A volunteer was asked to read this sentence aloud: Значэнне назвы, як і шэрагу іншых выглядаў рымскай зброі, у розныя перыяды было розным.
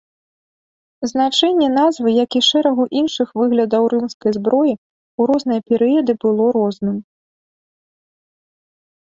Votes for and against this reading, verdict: 2, 0, accepted